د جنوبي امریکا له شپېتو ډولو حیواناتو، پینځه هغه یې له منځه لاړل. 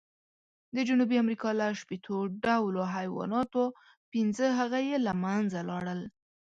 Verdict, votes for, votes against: accepted, 2, 0